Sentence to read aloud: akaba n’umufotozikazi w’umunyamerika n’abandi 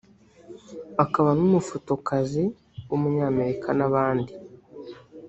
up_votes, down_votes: 0, 2